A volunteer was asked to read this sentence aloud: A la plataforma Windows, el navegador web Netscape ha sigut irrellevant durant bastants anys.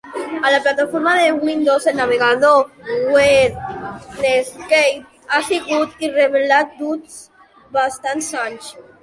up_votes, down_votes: 0, 2